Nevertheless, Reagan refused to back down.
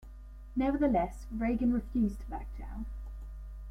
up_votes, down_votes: 2, 0